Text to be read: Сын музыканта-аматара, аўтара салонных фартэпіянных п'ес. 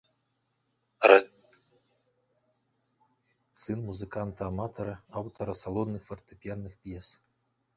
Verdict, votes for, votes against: rejected, 0, 2